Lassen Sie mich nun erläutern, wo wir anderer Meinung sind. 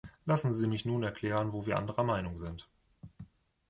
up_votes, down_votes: 0, 2